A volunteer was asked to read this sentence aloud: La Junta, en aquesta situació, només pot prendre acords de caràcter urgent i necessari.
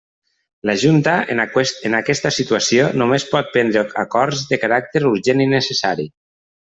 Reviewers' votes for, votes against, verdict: 0, 2, rejected